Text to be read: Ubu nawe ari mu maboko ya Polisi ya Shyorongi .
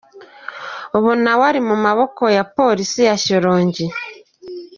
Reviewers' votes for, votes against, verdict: 2, 1, accepted